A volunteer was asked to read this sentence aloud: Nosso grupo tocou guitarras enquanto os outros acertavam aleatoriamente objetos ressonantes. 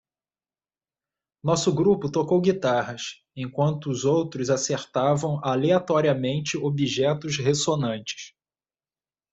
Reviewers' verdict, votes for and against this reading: accepted, 2, 0